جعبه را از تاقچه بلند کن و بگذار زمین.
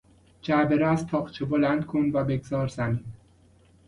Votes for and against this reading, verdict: 2, 0, accepted